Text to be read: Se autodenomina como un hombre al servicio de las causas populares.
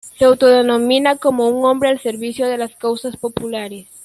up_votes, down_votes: 2, 0